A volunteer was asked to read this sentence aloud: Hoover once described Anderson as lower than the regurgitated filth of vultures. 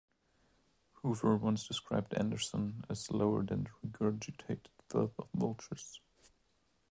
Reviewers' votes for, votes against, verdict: 0, 2, rejected